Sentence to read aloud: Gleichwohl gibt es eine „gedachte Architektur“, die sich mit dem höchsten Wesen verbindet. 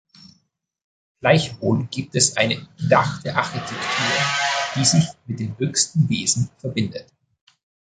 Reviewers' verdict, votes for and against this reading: rejected, 1, 2